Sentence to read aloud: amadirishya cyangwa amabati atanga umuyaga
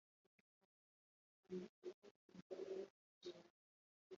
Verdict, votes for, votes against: rejected, 0, 2